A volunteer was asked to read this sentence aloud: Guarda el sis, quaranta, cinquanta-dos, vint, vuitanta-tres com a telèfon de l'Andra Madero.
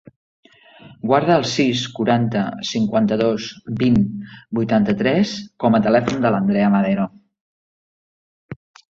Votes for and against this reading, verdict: 0, 2, rejected